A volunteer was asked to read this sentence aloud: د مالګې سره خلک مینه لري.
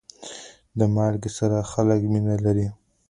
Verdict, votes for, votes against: accepted, 2, 0